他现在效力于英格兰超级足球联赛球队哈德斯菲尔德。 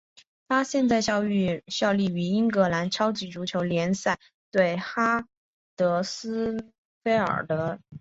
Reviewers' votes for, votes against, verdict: 1, 3, rejected